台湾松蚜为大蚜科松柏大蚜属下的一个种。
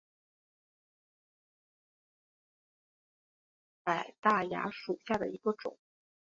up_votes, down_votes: 0, 2